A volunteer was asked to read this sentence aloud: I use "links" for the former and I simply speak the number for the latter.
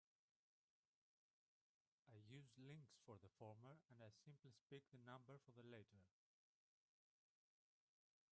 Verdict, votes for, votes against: rejected, 2, 4